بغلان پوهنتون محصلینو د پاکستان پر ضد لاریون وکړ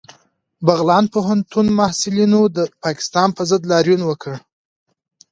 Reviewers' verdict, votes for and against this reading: accepted, 2, 0